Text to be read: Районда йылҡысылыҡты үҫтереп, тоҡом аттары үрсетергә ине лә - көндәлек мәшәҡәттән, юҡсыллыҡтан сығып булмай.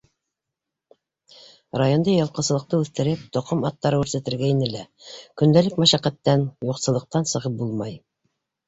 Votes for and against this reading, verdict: 2, 0, accepted